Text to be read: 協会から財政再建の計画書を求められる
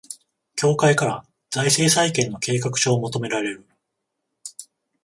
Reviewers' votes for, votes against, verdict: 14, 0, accepted